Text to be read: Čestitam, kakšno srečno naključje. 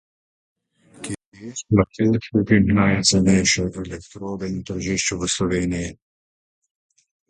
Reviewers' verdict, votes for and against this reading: rejected, 0, 2